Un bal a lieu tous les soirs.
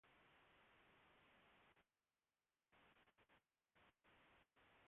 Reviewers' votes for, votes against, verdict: 0, 2, rejected